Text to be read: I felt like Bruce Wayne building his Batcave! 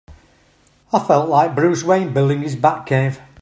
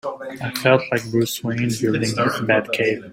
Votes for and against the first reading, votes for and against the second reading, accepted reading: 4, 1, 1, 2, first